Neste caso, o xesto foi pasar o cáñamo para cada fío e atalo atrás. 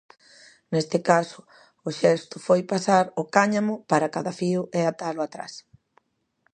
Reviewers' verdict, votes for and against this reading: accepted, 2, 0